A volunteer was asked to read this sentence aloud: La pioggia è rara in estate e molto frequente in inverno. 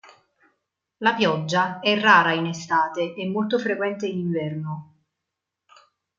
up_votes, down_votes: 2, 0